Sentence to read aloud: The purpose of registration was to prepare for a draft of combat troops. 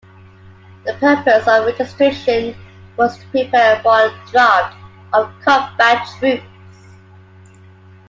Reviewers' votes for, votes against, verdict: 0, 2, rejected